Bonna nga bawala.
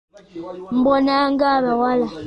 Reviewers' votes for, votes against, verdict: 0, 2, rejected